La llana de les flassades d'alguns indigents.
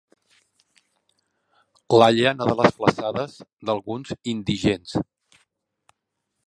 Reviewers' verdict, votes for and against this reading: rejected, 1, 2